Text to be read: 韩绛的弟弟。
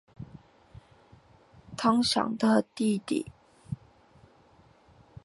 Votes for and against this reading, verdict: 3, 0, accepted